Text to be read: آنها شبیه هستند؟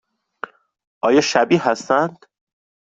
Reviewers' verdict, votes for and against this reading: rejected, 0, 2